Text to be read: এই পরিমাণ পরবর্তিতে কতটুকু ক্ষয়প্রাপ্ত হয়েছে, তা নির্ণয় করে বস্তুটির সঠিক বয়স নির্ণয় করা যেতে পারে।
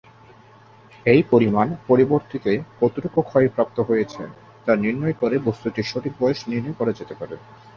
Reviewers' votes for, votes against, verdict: 5, 3, accepted